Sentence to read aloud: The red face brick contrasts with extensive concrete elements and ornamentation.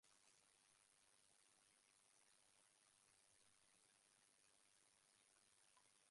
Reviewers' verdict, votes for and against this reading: rejected, 0, 2